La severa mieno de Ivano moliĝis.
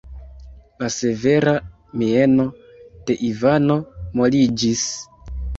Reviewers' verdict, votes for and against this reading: accepted, 2, 1